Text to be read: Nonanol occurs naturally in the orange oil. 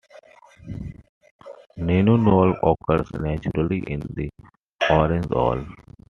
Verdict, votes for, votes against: accepted, 2, 0